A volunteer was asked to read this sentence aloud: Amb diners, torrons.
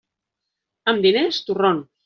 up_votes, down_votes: 0, 2